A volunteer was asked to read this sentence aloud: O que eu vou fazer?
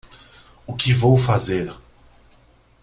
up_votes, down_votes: 0, 2